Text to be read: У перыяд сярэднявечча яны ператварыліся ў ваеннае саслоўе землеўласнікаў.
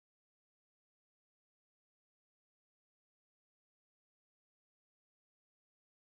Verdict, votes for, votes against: rejected, 0, 2